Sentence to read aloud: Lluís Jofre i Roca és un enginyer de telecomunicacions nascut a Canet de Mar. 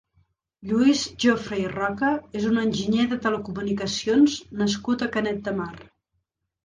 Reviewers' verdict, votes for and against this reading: accepted, 3, 0